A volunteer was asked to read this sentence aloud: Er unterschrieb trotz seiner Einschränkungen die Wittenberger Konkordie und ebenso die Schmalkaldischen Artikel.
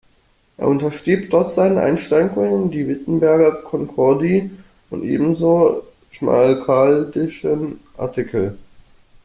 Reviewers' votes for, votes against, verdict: 1, 2, rejected